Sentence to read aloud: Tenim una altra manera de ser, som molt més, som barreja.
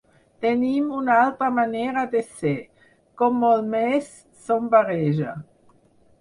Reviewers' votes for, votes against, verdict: 4, 6, rejected